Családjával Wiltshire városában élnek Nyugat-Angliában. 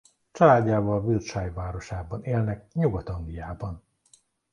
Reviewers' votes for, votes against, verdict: 2, 0, accepted